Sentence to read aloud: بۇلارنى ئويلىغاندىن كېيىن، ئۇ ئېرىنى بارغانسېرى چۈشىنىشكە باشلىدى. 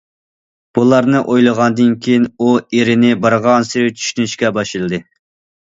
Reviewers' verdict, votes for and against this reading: accepted, 2, 0